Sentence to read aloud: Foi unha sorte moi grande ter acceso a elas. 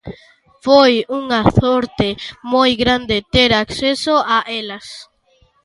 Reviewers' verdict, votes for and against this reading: accepted, 2, 0